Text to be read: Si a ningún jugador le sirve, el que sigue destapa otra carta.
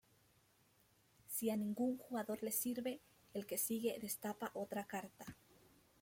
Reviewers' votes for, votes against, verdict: 1, 2, rejected